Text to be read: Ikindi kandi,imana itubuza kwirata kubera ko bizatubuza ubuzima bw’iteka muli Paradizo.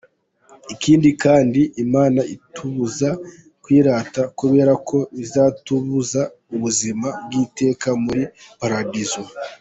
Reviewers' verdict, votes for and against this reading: accepted, 2, 1